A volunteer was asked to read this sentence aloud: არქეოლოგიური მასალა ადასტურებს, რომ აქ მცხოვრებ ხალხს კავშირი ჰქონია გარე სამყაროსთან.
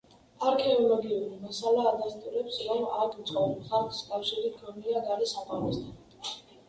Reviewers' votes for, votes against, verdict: 2, 0, accepted